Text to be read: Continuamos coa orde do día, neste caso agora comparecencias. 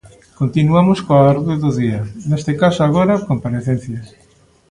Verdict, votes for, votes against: rejected, 1, 2